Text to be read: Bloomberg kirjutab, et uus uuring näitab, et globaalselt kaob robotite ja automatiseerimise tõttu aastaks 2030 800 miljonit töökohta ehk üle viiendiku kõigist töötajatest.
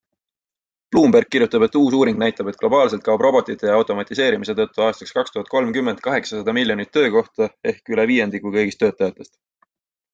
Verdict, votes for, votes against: rejected, 0, 2